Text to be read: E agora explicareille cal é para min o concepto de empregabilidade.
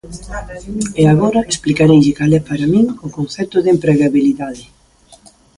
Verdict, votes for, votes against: rejected, 1, 2